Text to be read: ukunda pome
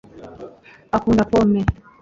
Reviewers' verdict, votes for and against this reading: rejected, 0, 2